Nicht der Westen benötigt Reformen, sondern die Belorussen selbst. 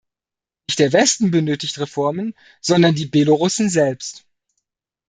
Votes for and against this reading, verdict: 0, 3, rejected